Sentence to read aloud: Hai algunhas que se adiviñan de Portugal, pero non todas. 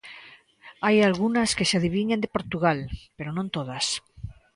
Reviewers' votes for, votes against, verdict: 2, 0, accepted